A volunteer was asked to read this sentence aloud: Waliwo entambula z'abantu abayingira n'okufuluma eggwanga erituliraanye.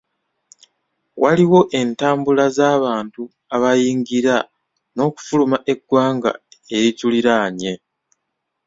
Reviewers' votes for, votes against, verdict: 2, 0, accepted